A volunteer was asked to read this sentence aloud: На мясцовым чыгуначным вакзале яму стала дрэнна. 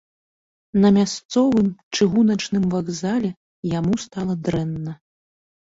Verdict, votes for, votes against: accepted, 2, 0